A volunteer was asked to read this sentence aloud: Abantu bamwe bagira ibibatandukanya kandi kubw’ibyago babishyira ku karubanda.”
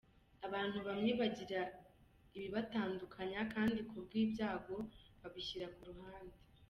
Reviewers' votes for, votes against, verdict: 0, 2, rejected